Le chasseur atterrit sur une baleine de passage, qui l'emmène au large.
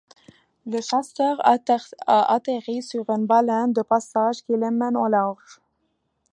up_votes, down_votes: 1, 2